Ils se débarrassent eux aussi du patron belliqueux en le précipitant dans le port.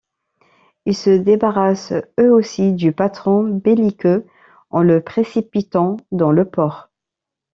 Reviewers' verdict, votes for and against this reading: accepted, 2, 1